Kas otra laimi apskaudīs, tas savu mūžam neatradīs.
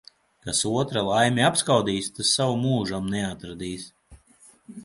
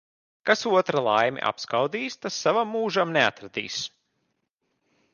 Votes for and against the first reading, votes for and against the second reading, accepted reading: 2, 0, 0, 2, first